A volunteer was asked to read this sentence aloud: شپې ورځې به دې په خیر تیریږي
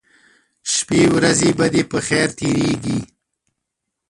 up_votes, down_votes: 1, 2